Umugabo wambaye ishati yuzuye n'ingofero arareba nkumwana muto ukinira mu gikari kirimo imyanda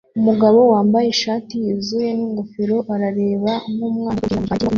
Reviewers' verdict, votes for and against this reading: rejected, 0, 2